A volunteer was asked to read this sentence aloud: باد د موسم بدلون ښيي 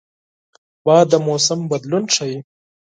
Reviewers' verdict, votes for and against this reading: accepted, 4, 0